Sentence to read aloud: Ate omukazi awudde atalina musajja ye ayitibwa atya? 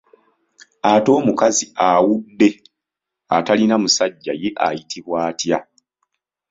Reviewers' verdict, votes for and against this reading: accepted, 2, 0